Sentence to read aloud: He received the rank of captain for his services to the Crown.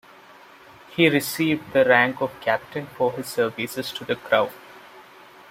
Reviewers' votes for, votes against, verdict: 2, 0, accepted